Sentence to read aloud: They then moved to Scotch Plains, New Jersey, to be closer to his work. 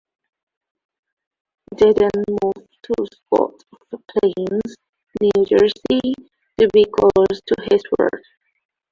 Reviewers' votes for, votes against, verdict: 1, 2, rejected